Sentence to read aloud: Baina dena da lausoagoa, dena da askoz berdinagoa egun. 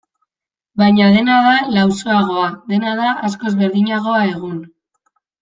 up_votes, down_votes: 2, 0